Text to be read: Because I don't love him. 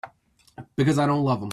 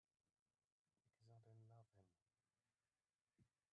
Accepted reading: first